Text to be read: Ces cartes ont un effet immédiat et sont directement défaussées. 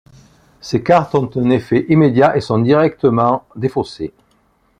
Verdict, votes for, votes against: accepted, 2, 0